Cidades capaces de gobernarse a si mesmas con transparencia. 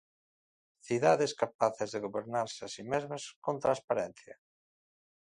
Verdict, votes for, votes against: accepted, 2, 0